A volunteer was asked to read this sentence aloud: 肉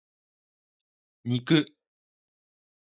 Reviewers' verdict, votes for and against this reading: accepted, 2, 1